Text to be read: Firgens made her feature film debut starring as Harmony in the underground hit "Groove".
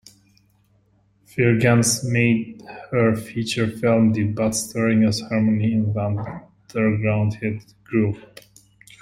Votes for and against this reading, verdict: 1, 2, rejected